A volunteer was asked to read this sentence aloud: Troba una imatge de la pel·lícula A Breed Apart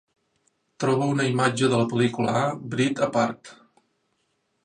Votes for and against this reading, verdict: 0, 2, rejected